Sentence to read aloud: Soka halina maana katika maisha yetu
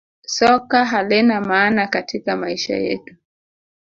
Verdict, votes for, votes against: accepted, 2, 0